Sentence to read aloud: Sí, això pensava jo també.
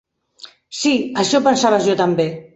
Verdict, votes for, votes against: rejected, 0, 2